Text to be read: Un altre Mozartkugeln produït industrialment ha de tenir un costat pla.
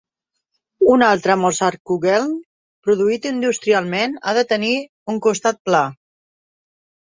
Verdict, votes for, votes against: accepted, 3, 0